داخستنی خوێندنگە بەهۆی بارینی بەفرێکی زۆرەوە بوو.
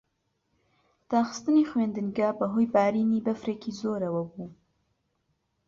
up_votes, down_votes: 3, 0